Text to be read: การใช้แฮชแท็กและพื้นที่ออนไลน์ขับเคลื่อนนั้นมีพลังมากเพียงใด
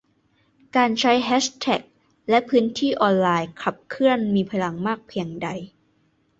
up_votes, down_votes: 0, 2